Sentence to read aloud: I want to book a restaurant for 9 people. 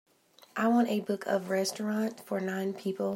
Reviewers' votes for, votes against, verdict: 0, 2, rejected